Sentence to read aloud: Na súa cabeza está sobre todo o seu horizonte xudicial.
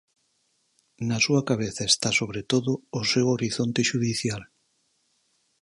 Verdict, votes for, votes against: accepted, 4, 0